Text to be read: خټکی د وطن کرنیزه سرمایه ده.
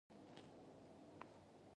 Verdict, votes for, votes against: rejected, 0, 2